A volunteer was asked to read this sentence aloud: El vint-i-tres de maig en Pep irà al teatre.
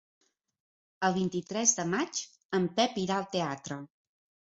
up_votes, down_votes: 3, 0